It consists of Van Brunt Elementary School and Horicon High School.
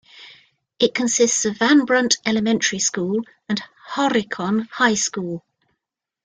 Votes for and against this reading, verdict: 2, 0, accepted